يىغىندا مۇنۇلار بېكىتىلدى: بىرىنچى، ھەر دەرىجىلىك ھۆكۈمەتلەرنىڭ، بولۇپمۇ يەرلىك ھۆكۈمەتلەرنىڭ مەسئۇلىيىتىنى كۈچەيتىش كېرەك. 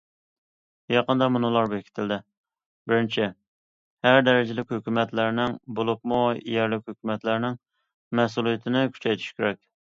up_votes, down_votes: 1, 2